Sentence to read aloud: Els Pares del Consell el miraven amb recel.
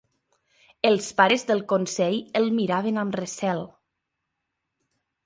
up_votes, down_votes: 3, 0